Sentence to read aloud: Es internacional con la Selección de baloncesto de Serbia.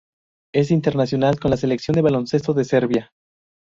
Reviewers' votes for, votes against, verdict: 2, 0, accepted